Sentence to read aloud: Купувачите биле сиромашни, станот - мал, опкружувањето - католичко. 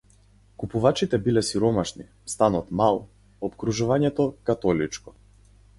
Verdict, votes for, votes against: accepted, 4, 0